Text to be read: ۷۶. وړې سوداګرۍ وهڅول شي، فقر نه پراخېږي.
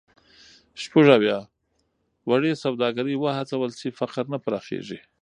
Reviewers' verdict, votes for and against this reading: rejected, 0, 2